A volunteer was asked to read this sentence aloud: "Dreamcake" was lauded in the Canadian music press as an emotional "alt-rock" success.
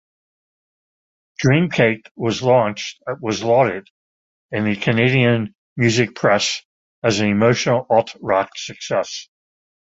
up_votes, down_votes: 1, 2